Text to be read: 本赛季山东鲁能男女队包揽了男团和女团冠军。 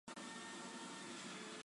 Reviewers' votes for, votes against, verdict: 0, 4, rejected